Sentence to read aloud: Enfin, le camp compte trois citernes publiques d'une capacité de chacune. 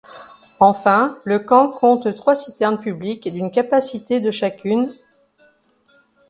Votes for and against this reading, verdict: 2, 0, accepted